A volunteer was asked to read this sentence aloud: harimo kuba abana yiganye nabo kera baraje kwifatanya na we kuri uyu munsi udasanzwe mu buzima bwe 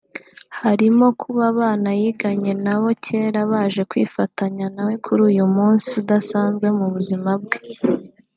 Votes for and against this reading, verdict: 1, 2, rejected